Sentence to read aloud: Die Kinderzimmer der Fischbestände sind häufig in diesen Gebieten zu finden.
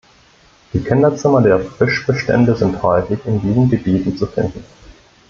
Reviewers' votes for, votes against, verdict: 2, 0, accepted